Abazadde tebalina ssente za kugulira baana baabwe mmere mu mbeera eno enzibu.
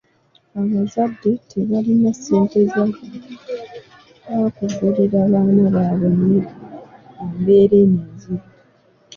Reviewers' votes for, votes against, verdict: 1, 2, rejected